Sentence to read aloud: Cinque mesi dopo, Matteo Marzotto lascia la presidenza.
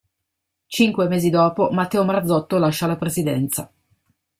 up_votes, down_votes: 2, 0